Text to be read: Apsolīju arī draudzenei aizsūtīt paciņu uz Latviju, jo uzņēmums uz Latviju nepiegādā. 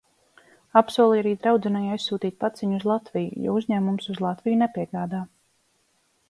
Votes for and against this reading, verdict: 2, 0, accepted